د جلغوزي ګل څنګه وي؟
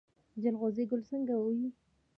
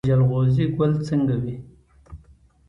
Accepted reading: second